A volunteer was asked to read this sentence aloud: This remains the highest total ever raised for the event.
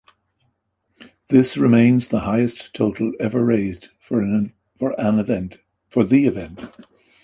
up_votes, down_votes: 0, 2